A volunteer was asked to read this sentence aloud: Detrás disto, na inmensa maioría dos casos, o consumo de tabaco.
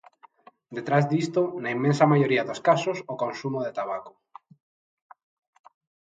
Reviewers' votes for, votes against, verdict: 2, 0, accepted